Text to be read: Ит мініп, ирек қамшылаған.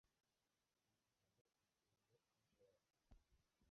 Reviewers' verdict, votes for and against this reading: rejected, 0, 2